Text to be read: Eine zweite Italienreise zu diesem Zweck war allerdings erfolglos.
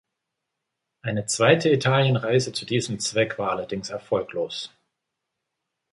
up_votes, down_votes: 2, 0